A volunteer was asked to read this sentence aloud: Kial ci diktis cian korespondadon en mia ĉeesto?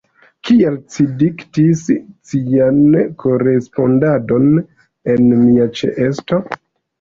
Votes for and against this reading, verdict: 1, 2, rejected